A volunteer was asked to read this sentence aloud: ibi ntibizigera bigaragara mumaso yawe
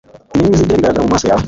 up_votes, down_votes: 1, 2